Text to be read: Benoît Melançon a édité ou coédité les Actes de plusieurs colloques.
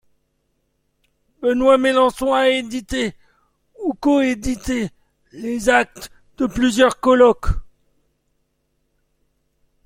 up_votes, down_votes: 2, 0